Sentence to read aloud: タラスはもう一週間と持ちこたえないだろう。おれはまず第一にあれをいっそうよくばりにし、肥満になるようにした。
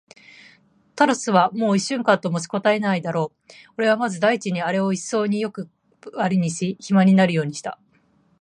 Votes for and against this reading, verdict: 0, 2, rejected